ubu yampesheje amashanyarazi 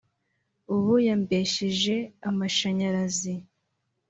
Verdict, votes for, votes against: accepted, 2, 0